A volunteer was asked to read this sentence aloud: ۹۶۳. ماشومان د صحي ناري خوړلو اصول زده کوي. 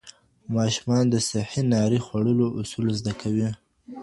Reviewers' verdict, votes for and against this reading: rejected, 0, 2